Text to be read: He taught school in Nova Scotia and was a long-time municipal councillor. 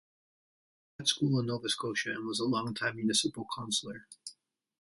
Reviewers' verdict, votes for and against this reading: rejected, 0, 2